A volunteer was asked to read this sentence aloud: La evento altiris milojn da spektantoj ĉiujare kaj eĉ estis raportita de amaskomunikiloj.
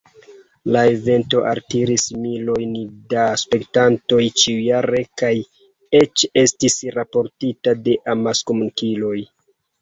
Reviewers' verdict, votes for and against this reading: accepted, 2, 0